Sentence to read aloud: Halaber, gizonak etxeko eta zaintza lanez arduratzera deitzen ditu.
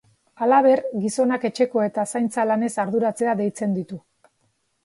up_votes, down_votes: 2, 0